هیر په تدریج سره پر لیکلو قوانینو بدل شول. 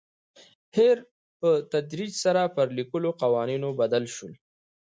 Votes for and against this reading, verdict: 2, 0, accepted